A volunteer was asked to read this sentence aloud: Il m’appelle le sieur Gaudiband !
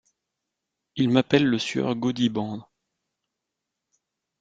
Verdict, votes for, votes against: accepted, 2, 0